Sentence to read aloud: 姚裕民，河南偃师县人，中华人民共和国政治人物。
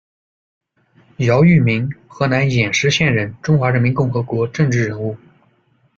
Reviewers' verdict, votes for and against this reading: accepted, 2, 0